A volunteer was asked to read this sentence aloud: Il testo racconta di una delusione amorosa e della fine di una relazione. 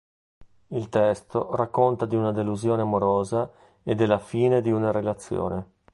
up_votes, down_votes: 2, 0